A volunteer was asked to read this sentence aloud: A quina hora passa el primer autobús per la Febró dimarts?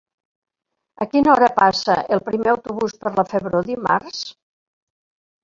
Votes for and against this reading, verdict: 3, 0, accepted